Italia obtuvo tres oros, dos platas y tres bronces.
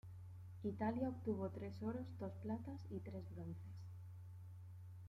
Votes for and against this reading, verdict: 2, 0, accepted